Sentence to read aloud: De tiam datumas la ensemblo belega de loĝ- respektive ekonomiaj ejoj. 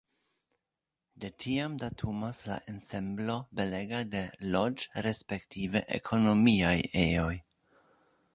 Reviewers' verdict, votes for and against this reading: accepted, 2, 0